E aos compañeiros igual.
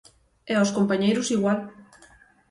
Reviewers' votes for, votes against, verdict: 6, 0, accepted